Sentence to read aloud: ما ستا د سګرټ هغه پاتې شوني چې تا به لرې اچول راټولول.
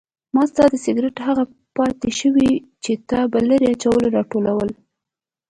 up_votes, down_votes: 2, 0